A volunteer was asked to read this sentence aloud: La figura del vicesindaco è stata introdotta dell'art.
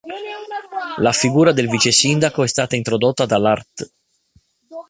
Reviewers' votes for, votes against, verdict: 0, 2, rejected